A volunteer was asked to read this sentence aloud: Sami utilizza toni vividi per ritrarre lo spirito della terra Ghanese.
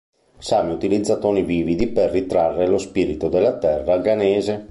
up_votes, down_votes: 2, 0